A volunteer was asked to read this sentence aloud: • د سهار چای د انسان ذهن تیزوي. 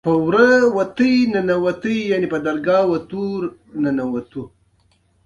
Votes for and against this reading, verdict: 0, 2, rejected